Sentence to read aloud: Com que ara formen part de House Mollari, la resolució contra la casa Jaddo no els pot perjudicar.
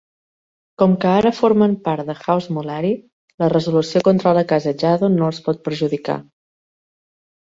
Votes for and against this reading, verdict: 2, 0, accepted